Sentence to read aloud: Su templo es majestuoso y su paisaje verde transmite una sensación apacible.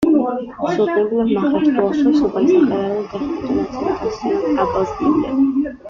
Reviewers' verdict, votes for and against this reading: rejected, 1, 2